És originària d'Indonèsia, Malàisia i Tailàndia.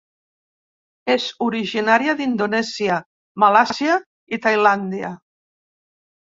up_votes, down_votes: 0, 2